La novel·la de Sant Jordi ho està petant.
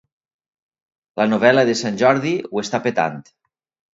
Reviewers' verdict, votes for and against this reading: accepted, 2, 0